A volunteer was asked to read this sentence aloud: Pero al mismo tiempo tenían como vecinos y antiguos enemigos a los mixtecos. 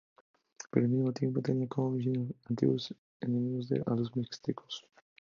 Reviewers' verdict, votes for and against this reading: accepted, 2, 0